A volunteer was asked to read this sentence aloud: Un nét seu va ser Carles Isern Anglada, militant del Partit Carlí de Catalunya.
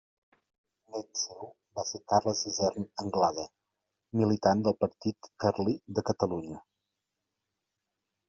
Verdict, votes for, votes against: accepted, 2, 1